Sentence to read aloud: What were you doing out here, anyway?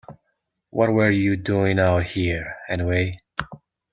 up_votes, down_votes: 2, 0